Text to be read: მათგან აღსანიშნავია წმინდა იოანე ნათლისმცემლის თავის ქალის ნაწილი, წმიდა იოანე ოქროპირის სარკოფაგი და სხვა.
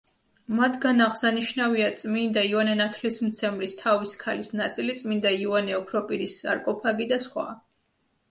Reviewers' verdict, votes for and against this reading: accepted, 2, 0